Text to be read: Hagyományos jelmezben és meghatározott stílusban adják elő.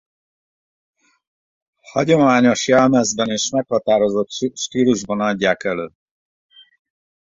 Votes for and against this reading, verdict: 0, 2, rejected